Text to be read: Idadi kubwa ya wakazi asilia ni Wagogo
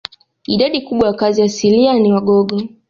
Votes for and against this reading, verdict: 1, 2, rejected